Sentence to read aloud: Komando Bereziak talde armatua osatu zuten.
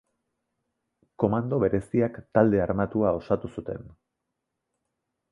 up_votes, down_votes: 3, 0